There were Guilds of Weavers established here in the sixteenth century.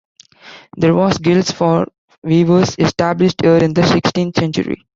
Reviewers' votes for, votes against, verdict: 1, 2, rejected